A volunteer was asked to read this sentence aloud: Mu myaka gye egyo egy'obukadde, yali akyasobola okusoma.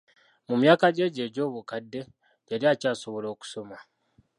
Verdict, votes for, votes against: rejected, 1, 2